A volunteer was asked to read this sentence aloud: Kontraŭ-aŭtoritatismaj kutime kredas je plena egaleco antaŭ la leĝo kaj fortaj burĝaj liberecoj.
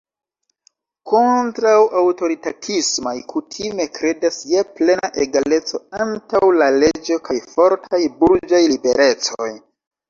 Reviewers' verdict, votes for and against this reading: rejected, 0, 2